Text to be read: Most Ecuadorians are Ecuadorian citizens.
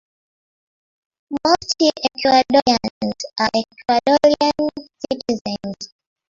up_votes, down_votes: 0, 2